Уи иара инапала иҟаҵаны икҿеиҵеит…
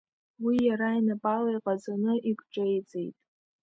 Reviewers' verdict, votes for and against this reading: accepted, 2, 0